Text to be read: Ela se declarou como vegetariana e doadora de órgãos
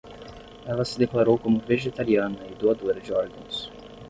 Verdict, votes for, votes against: rejected, 0, 5